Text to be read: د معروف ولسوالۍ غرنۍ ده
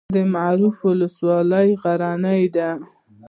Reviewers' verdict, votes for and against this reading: accepted, 2, 0